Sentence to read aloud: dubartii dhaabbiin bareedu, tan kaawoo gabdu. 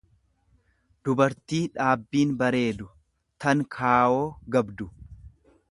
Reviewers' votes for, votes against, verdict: 2, 0, accepted